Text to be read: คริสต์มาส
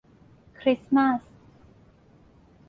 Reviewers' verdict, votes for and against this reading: accepted, 2, 0